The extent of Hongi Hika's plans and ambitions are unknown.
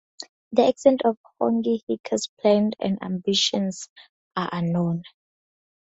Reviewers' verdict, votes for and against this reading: rejected, 2, 2